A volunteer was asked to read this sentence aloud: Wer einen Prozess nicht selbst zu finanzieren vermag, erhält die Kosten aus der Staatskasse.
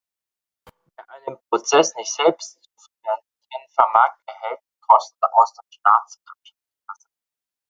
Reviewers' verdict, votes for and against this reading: rejected, 1, 2